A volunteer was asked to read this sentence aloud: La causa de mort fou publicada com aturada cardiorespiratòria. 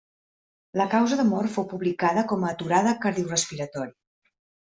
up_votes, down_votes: 1, 2